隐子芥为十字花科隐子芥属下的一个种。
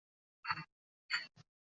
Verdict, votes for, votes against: rejected, 1, 2